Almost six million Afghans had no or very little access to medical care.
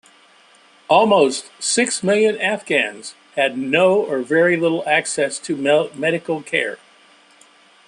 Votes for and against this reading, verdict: 2, 1, accepted